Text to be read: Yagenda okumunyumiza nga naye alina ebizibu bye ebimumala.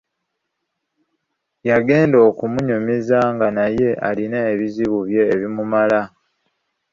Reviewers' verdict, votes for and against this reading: accepted, 3, 0